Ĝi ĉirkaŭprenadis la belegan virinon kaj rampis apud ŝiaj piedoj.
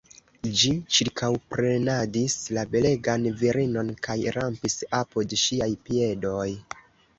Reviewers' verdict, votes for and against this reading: rejected, 1, 2